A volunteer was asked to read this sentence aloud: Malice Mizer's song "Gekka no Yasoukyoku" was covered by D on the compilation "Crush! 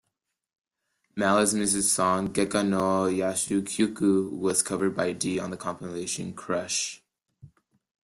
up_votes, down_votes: 0, 2